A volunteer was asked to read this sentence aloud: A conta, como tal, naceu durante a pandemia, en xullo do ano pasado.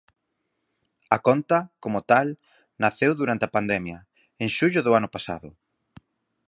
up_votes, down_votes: 4, 0